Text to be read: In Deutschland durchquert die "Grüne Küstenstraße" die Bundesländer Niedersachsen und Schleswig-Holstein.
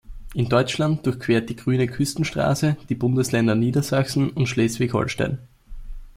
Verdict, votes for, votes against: accepted, 2, 0